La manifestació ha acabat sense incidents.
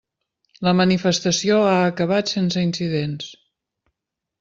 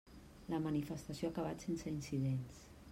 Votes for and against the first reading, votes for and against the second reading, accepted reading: 3, 0, 1, 2, first